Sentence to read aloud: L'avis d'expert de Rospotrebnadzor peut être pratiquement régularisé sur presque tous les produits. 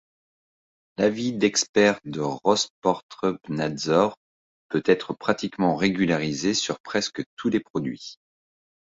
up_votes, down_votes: 1, 2